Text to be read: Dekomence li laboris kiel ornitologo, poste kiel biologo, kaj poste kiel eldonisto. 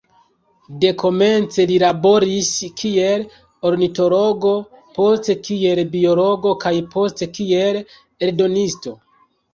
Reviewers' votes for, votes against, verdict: 2, 0, accepted